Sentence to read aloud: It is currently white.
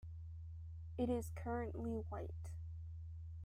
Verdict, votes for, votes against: accepted, 2, 0